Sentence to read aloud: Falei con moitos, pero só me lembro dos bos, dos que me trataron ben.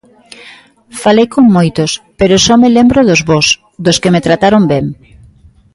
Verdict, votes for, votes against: accepted, 2, 0